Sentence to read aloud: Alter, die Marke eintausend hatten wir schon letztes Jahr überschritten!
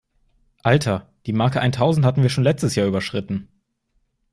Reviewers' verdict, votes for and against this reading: accepted, 2, 0